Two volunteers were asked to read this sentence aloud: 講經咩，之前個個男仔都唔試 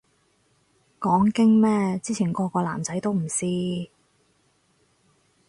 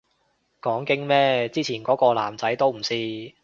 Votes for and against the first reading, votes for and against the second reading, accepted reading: 4, 0, 0, 3, first